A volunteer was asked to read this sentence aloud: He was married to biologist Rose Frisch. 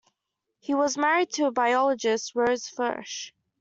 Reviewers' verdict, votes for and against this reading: rejected, 0, 2